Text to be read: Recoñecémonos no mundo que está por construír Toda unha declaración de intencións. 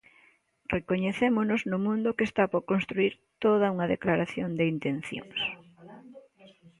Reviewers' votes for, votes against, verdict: 2, 0, accepted